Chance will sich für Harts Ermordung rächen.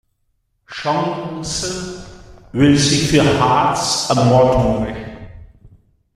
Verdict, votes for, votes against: accepted, 2, 0